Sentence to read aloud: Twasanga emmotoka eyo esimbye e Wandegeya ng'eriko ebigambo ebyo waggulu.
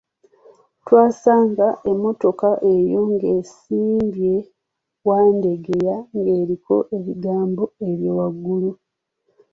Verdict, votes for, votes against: rejected, 1, 2